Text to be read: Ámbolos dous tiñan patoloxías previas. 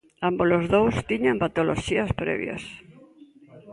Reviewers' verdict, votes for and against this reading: accepted, 2, 0